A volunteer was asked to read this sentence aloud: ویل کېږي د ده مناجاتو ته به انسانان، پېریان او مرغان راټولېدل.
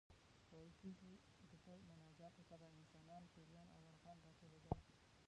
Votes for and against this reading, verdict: 1, 2, rejected